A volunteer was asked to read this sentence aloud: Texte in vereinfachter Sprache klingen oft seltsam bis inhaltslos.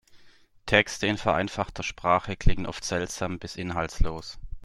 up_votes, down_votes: 2, 0